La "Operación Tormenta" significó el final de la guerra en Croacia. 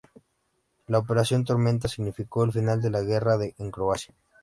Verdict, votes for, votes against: accepted, 2, 0